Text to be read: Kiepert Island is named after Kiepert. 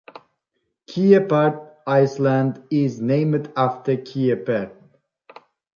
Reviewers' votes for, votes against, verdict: 0, 2, rejected